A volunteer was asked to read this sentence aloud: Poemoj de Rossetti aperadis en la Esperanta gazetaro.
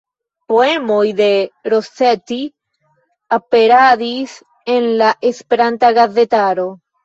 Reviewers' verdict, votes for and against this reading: accepted, 2, 0